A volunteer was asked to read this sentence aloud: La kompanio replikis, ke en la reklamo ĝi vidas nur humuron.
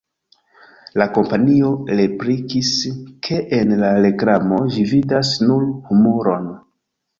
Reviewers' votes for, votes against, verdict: 2, 1, accepted